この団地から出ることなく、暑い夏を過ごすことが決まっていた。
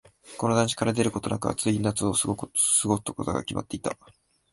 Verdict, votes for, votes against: rejected, 1, 2